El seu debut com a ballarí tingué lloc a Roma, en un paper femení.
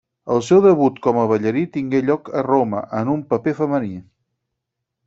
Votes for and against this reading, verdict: 6, 0, accepted